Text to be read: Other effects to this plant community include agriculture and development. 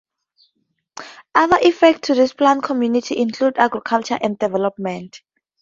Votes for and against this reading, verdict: 4, 0, accepted